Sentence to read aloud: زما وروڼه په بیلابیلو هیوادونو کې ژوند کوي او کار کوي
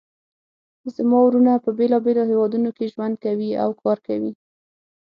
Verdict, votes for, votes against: accepted, 6, 0